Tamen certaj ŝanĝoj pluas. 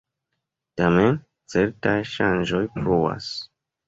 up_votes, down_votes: 2, 0